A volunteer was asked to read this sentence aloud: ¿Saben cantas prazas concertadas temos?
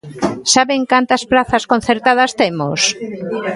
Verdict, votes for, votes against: accepted, 2, 0